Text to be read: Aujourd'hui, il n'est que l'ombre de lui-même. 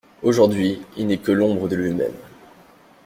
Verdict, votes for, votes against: accepted, 2, 0